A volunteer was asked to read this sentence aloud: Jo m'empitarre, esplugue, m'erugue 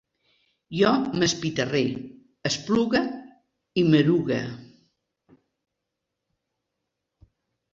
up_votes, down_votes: 0, 2